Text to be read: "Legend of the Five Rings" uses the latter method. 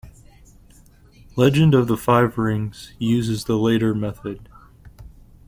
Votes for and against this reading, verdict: 0, 2, rejected